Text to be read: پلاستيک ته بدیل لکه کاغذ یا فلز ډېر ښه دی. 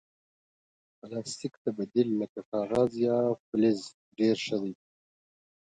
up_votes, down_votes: 0, 2